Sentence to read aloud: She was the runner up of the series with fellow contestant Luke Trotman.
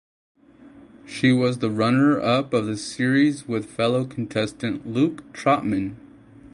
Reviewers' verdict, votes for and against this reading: accepted, 4, 0